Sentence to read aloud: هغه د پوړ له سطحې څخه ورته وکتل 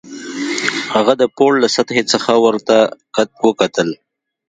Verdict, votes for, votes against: rejected, 1, 2